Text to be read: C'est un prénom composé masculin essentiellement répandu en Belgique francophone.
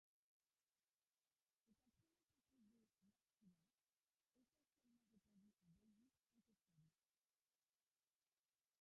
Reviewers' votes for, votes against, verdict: 0, 3, rejected